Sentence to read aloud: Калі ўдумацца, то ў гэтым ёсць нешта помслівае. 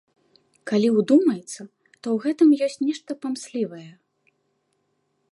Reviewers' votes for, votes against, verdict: 0, 2, rejected